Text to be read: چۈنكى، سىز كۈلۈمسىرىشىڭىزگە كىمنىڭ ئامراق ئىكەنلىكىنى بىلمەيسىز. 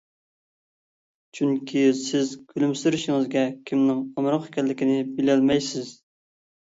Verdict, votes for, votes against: rejected, 0, 2